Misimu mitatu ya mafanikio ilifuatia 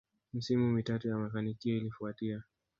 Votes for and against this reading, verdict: 2, 0, accepted